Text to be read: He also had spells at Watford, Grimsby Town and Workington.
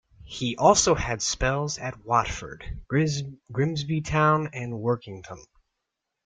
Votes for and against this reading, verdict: 0, 2, rejected